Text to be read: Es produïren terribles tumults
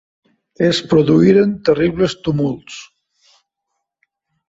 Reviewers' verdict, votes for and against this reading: rejected, 0, 2